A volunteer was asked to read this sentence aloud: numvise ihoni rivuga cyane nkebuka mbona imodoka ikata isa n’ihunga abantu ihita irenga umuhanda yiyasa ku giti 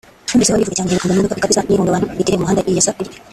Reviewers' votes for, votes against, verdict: 0, 3, rejected